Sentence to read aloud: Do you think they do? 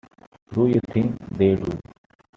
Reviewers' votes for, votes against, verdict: 2, 0, accepted